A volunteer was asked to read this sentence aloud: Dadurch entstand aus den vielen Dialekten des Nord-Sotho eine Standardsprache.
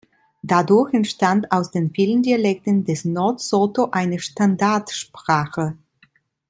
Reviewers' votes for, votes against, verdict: 1, 2, rejected